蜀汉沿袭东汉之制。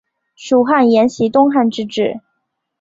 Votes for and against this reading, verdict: 6, 0, accepted